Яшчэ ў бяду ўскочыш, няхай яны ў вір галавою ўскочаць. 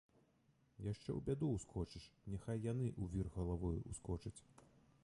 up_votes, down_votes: 1, 2